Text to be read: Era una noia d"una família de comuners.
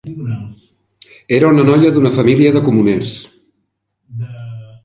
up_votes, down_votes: 2, 1